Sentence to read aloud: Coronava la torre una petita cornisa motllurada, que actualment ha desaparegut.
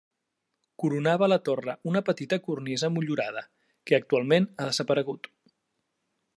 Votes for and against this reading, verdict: 2, 0, accepted